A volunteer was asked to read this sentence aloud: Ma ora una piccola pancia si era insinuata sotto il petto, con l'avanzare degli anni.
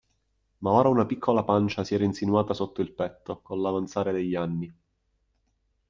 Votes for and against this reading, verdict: 2, 0, accepted